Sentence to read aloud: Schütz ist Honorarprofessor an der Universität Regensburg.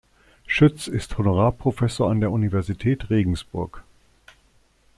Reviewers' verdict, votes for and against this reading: accepted, 2, 0